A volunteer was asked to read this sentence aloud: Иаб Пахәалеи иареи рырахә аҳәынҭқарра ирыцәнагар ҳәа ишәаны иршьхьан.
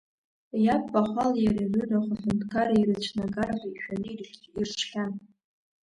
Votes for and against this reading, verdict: 0, 2, rejected